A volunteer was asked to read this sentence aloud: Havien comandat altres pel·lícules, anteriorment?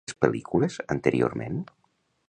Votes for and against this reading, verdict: 0, 2, rejected